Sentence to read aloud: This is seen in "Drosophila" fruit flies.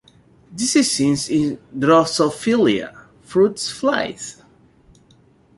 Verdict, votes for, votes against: rejected, 0, 2